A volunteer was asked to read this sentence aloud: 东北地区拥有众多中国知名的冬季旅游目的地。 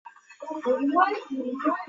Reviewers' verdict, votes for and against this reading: rejected, 0, 2